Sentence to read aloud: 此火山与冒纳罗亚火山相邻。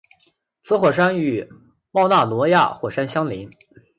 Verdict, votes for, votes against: accepted, 2, 0